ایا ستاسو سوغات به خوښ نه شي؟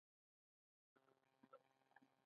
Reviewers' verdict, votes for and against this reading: rejected, 1, 2